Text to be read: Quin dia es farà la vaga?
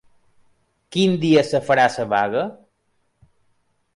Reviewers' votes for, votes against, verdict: 0, 2, rejected